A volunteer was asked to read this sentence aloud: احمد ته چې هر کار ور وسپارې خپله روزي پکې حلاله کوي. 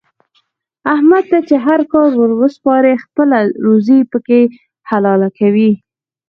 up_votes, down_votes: 4, 2